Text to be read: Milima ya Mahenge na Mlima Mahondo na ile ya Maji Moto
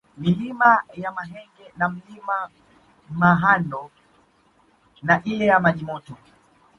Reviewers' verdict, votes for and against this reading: accepted, 2, 1